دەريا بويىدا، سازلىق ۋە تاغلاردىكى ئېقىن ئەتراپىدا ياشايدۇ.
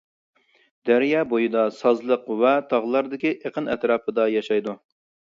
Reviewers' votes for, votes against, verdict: 2, 0, accepted